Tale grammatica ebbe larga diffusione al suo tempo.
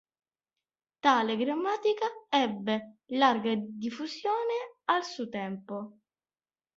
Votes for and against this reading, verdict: 1, 2, rejected